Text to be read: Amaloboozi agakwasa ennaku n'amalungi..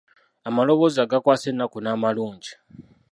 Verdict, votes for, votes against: rejected, 0, 2